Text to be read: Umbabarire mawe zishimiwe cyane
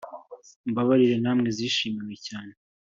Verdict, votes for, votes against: accepted, 2, 0